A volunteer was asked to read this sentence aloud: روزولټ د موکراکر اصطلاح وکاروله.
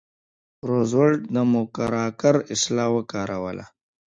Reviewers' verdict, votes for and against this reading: accepted, 3, 1